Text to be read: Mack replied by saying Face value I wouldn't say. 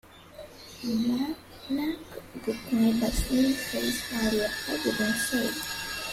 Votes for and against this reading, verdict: 0, 2, rejected